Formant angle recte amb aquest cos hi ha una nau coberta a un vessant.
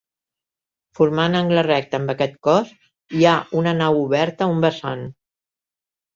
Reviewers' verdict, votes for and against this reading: rejected, 1, 3